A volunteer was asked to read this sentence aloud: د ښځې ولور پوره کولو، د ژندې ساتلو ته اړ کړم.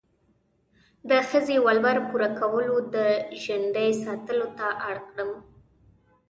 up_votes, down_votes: 2, 0